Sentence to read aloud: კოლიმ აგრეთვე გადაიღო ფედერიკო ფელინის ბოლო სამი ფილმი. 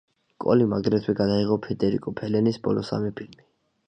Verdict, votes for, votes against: accepted, 2, 0